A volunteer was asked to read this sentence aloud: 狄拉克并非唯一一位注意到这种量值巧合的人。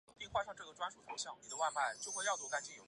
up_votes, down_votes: 1, 4